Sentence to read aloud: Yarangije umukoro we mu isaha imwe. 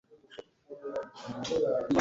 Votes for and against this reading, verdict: 0, 2, rejected